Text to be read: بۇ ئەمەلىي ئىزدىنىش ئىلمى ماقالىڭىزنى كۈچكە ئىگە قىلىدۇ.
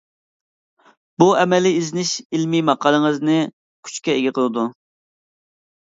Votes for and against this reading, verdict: 2, 0, accepted